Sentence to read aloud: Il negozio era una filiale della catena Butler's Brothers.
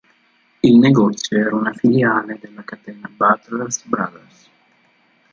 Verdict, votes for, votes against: rejected, 0, 2